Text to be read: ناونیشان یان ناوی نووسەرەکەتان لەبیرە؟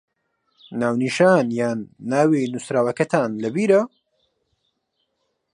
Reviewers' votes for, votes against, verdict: 0, 2, rejected